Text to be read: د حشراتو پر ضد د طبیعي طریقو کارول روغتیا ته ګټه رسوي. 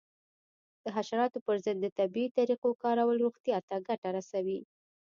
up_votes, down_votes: 1, 2